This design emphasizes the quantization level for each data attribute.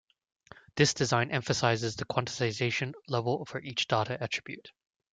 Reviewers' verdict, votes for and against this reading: rejected, 1, 2